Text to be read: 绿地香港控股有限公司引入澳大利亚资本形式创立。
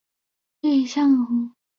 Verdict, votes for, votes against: rejected, 1, 2